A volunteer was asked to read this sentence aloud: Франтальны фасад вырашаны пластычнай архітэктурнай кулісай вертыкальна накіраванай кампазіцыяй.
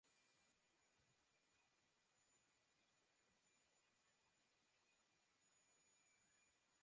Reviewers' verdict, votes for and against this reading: rejected, 0, 2